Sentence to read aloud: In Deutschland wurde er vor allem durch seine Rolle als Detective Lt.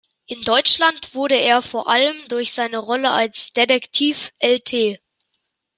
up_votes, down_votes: 0, 2